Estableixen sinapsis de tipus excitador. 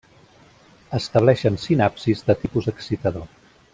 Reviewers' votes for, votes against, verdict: 2, 0, accepted